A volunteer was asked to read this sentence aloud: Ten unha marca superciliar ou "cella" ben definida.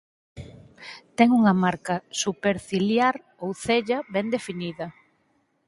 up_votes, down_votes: 4, 0